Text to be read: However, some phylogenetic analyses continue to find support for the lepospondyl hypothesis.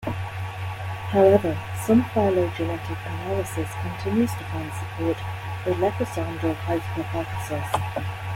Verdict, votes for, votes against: rejected, 1, 2